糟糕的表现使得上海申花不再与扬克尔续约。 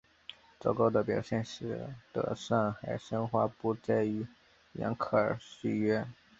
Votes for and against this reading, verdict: 3, 1, accepted